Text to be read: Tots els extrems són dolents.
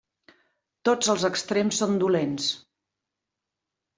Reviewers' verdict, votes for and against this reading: accepted, 3, 0